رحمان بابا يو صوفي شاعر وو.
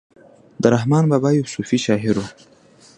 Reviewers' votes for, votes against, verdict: 2, 1, accepted